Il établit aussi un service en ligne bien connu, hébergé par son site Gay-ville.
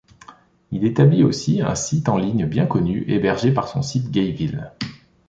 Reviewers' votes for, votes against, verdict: 0, 2, rejected